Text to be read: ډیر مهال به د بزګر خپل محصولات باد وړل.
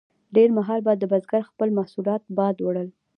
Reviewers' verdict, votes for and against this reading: accepted, 2, 0